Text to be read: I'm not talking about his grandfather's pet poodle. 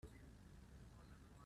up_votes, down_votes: 0, 2